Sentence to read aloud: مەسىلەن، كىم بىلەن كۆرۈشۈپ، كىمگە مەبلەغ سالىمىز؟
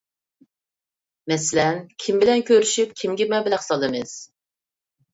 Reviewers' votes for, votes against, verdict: 2, 0, accepted